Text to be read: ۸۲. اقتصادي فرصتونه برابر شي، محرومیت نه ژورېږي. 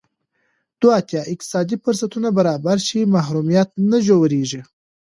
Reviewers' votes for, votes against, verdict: 0, 2, rejected